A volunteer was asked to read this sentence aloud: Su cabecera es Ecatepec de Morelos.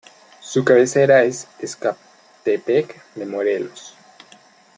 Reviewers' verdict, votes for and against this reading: rejected, 0, 2